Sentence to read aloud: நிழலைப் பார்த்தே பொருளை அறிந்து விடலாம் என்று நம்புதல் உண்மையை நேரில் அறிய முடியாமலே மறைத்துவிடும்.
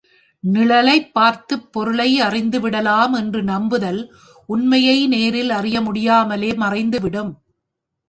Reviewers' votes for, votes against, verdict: 1, 2, rejected